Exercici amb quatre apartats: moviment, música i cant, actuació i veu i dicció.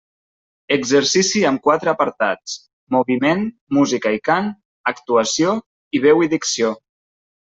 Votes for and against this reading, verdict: 3, 0, accepted